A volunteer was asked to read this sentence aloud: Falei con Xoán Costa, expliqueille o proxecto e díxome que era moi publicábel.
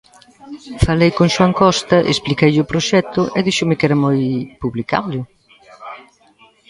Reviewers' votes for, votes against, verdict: 0, 2, rejected